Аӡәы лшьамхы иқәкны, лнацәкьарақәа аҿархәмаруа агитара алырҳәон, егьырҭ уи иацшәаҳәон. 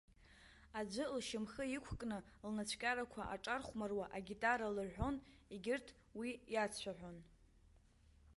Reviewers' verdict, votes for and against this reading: rejected, 0, 2